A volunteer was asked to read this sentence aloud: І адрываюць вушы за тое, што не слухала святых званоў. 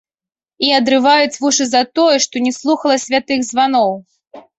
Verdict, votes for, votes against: accepted, 2, 0